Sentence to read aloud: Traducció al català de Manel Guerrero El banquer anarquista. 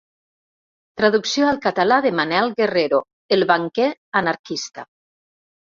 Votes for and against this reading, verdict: 3, 0, accepted